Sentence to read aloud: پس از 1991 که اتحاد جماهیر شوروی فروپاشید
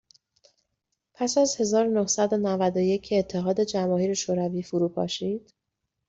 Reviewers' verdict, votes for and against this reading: rejected, 0, 2